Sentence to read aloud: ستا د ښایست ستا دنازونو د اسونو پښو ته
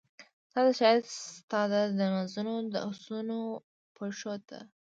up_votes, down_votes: 0, 2